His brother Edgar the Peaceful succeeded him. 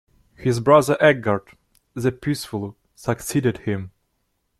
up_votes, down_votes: 0, 2